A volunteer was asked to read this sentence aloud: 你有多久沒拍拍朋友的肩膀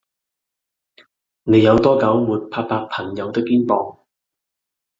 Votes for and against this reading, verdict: 2, 0, accepted